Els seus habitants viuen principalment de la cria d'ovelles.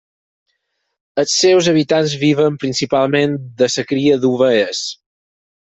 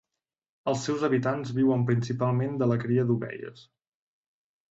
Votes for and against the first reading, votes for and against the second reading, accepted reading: 0, 4, 3, 0, second